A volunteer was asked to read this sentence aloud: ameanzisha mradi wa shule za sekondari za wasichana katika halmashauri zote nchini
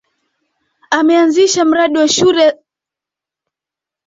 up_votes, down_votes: 0, 2